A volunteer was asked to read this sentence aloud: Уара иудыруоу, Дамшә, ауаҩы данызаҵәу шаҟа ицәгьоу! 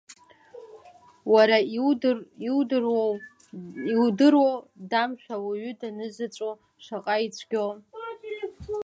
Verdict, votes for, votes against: rejected, 0, 2